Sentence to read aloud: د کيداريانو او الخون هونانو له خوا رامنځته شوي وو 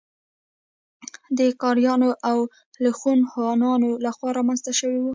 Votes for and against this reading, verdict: 1, 2, rejected